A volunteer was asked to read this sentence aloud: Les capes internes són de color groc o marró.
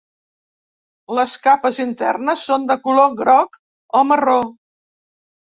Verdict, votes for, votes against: accepted, 3, 0